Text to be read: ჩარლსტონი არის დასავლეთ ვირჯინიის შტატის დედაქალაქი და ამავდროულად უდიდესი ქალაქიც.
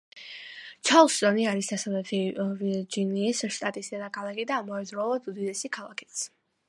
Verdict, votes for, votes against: accepted, 2, 1